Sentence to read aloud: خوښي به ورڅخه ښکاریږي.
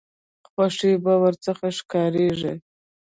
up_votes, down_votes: 1, 2